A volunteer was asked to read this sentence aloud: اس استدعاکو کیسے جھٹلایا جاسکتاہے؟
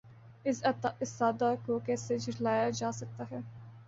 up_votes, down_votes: 3, 0